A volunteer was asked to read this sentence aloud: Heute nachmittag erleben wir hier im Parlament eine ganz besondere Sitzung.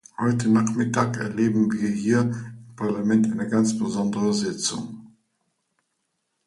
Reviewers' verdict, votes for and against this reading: accepted, 2, 0